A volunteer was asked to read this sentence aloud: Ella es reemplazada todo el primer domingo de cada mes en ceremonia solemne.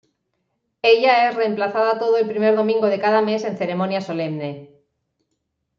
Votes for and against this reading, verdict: 0, 2, rejected